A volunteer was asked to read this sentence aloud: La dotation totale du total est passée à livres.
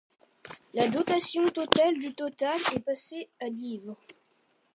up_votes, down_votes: 2, 0